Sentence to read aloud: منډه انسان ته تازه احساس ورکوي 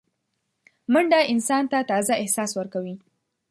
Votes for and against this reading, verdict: 2, 0, accepted